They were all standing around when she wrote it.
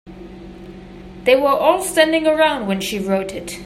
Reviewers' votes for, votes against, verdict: 2, 0, accepted